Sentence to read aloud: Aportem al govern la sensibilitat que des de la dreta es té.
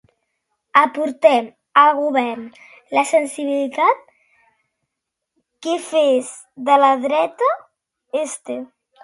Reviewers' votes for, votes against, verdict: 0, 2, rejected